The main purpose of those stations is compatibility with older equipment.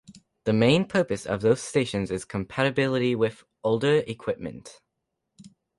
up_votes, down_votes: 2, 0